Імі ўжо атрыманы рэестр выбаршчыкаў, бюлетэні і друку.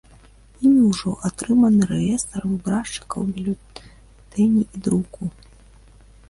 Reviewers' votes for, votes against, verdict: 1, 2, rejected